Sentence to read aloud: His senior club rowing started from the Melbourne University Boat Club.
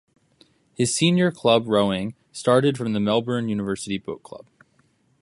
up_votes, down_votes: 2, 0